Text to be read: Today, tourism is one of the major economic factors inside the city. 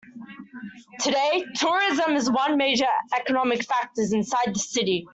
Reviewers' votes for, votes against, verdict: 1, 2, rejected